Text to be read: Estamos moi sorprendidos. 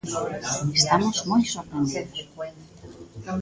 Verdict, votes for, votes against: rejected, 1, 2